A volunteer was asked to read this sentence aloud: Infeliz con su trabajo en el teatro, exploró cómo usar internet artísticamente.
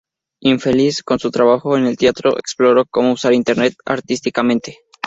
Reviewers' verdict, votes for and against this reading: accepted, 2, 0